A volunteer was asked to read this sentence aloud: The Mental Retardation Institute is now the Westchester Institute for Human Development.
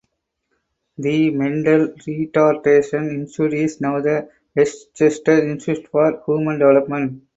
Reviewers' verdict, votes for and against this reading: rejected, 0, 4